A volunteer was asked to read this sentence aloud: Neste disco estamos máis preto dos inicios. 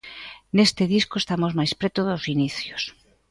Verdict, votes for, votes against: accepted, 2, 0